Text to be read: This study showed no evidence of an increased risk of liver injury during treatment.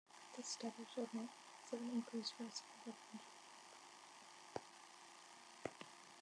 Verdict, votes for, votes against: rejected, 0, 2